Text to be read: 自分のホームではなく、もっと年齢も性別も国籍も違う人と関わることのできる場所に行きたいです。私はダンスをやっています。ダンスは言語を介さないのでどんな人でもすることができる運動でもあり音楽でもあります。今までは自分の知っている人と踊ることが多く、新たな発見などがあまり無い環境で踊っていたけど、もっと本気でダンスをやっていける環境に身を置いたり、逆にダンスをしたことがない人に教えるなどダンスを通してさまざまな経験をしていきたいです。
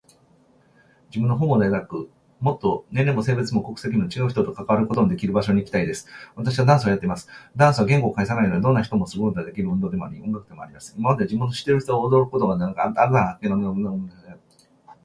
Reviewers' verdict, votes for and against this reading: rejected, 0, 2